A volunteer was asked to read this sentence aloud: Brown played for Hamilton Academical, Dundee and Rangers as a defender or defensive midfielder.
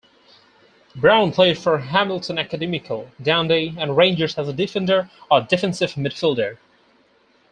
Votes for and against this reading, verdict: 4, 0, accepted